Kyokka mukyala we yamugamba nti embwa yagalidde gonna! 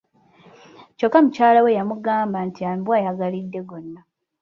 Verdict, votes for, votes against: rejected, 1, 2